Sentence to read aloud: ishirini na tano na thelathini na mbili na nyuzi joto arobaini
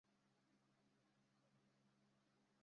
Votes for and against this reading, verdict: 0, 2, rejected